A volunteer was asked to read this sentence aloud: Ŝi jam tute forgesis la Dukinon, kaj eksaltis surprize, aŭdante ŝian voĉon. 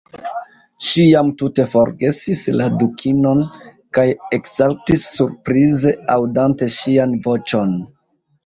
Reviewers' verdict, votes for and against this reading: rejected, 1, 2